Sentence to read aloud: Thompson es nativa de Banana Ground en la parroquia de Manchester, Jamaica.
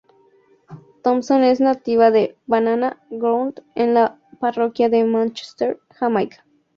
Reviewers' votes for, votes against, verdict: 2, 0, accepted